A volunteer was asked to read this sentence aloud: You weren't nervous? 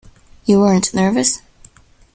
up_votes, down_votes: 2, 0